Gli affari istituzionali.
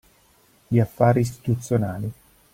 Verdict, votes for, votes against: accepted, 2, 0